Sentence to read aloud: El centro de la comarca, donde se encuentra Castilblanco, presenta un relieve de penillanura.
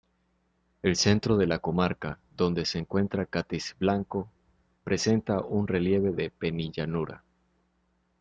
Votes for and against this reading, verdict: 1, 2, rejected